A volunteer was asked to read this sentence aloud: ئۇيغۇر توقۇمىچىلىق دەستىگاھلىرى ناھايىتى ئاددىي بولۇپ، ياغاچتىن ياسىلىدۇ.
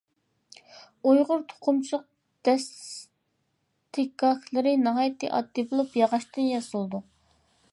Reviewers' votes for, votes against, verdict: 1, 2, rejected